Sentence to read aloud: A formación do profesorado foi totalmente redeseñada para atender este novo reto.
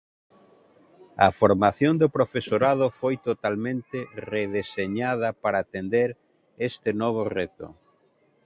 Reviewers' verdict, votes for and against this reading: accepted, 2, 0